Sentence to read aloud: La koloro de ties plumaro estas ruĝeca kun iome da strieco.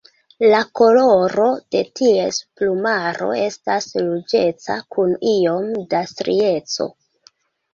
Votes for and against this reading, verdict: 2, 1, accepted